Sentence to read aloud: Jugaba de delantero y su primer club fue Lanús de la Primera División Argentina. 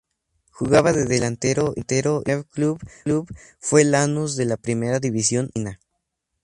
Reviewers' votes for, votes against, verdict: 0, 2, rejected